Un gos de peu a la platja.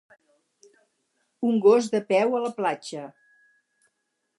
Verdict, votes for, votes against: accepted, 4, 0